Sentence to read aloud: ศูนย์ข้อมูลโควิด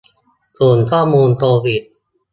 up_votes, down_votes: 2, 0